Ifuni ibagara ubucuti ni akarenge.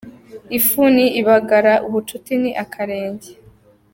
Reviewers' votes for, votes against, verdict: 2, 0, accepted